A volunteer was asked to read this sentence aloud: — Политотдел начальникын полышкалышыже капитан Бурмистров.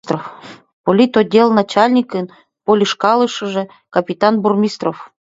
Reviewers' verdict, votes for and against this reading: rejected, 0, 2